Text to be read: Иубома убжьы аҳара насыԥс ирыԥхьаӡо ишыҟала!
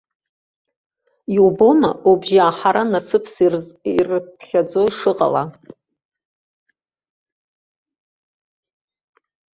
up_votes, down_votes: 1, 2